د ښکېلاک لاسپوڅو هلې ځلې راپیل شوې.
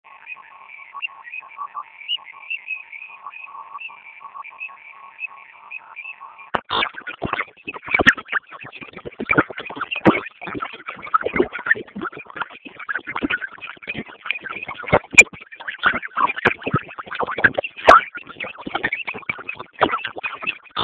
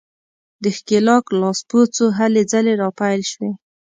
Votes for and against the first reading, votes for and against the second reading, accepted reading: 0, 2, 2, 0, second